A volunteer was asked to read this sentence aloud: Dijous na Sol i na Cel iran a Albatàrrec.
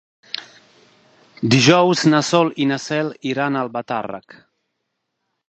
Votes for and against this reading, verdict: 2, 0, accepted